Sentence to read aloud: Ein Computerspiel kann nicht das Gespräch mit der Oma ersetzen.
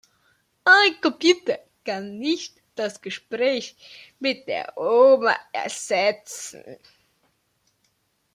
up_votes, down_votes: 0, 2